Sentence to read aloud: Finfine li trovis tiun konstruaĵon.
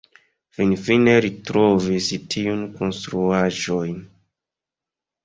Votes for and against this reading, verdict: 1, 2, rejected